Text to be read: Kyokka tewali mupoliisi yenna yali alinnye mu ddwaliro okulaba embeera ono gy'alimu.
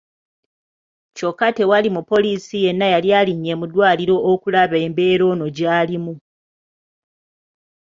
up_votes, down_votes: 2, 1